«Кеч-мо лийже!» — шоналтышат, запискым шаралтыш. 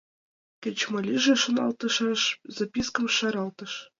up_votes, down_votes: 0, 2